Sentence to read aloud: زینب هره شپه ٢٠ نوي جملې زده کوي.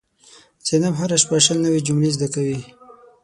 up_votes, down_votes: 0, 2